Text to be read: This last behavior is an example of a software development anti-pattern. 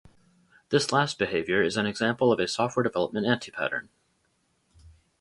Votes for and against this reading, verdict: 4, 0, accepted